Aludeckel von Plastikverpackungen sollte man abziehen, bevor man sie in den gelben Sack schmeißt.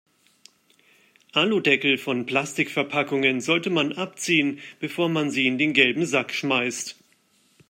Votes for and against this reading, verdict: 2, 0, accepted